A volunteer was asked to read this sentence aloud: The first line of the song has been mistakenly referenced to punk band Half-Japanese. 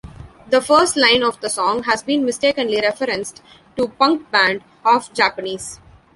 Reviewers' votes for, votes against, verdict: 0, 2, rejected